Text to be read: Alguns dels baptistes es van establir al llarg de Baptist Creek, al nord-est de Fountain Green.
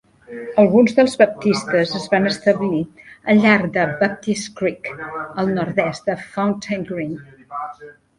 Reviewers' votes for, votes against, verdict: 1, 2, rejected